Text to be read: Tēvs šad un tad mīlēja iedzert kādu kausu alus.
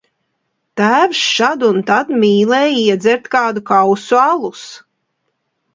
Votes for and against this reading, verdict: 2, 0, accepted